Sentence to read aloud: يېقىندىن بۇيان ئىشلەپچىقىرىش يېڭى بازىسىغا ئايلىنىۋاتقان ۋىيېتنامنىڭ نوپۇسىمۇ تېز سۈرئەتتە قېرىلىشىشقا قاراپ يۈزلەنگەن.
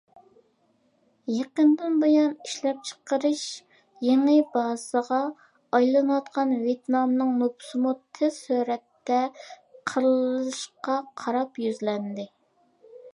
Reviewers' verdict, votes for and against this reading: rejected, 0, 2